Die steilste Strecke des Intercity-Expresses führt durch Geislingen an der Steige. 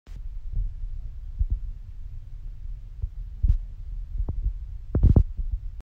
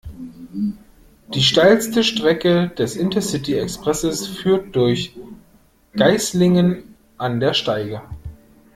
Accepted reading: second